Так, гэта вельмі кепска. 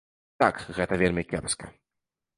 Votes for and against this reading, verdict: 2, 0, accepted